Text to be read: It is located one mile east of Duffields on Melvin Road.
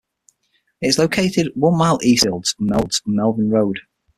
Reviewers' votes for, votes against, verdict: 3, 6, rejected